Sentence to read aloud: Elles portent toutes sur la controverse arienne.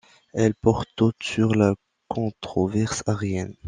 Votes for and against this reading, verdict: 2, 0, accepted